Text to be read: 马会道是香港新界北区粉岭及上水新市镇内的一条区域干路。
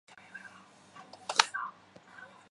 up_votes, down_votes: 3, 4